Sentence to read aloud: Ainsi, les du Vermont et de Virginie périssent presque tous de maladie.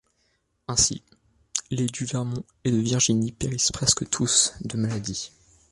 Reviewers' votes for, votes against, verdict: 2, 0, accepted